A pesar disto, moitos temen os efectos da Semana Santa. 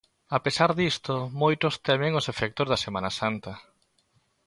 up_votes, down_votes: 2, 0